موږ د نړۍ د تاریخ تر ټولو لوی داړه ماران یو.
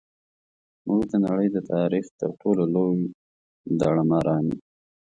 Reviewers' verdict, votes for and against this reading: accepted, 2, 1